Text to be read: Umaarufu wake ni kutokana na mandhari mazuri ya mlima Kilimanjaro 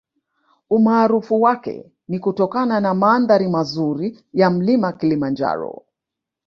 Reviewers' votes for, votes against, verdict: 0, 2, rejected